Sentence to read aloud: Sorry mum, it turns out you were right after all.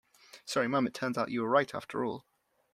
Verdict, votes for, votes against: accepted, 2, 0